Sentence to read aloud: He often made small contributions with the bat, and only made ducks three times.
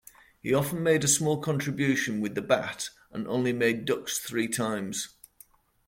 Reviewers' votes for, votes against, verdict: 1, 2, rejected